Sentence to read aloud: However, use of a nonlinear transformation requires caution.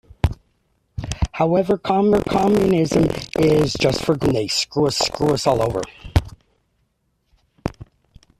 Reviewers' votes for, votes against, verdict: 0, 2, rejected